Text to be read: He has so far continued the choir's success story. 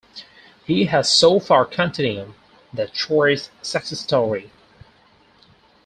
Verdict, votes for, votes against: rejected, 2, 4